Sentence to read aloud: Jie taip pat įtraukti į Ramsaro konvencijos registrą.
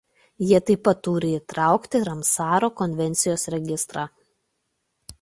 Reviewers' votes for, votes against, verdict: 0, 2, rejected